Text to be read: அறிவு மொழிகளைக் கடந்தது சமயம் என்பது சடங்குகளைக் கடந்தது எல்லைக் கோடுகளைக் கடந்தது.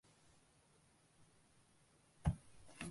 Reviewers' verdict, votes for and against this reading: rejected, 0, 2